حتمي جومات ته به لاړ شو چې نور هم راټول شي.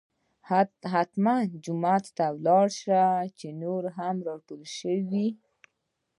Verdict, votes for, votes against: accepted, 2, 0